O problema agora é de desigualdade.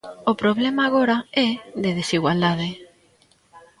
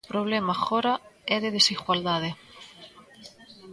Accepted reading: second